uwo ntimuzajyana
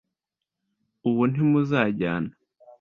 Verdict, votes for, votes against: accepted, 2, 0